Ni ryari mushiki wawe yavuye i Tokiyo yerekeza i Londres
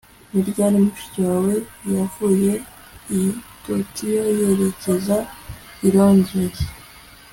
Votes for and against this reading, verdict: 2, 0, accepted